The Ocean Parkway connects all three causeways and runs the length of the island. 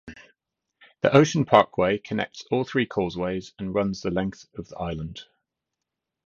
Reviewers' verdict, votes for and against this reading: accepted, 2, 0